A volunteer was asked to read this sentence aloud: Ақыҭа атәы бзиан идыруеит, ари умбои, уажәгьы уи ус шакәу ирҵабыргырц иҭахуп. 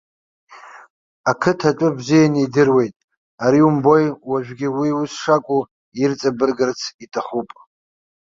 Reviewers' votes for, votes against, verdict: 2, 0, accepted